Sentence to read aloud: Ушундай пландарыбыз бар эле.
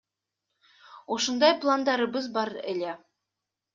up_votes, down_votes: 2, 0